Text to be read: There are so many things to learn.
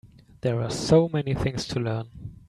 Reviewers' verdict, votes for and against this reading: rejected, 1, 2